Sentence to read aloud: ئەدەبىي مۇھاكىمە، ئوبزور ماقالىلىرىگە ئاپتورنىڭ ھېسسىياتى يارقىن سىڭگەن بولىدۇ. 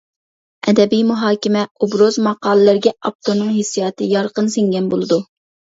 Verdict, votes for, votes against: rejected, 0, 2